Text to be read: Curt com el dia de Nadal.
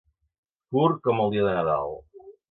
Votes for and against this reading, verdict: 2, 0, accepted